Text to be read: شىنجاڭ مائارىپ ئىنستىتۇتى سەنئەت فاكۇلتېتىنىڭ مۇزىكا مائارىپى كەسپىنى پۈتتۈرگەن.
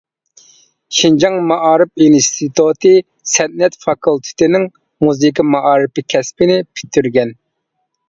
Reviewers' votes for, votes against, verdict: 2, 0, accepted